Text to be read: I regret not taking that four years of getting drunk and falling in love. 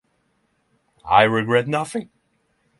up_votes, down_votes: 0, 6